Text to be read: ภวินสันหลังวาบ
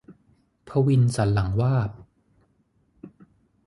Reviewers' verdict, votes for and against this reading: accepted, 6, 0